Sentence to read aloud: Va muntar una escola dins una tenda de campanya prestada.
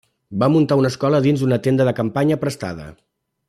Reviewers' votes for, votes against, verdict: 2, 0, accepted